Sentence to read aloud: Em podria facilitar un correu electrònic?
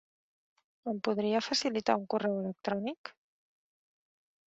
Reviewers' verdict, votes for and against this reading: rejected, 1, 2